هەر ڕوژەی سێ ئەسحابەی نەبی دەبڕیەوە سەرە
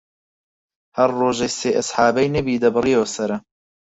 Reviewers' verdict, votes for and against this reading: accepted, 6, 0